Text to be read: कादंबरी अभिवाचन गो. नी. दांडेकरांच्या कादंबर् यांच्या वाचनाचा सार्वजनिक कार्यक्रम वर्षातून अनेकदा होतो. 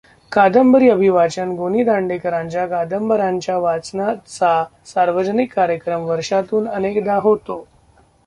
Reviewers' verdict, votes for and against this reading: rejected, 1, 2